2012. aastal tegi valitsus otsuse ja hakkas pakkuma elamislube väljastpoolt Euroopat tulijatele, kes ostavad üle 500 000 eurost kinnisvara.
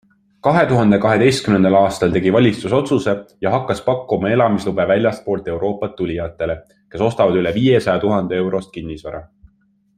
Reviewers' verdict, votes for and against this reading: rejected, 0, 2